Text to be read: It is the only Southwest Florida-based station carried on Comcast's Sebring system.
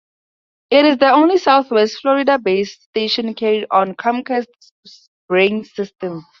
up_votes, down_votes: 2, 2